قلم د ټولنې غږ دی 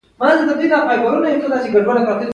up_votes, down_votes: 0, 2